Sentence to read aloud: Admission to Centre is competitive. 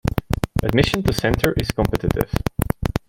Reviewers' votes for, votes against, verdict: 2, 1, accepted